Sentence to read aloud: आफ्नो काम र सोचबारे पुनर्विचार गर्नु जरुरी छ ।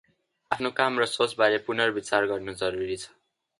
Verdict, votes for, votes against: accepted, 2, 0